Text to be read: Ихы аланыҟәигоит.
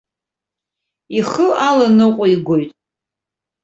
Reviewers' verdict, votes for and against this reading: accepted, 2, 0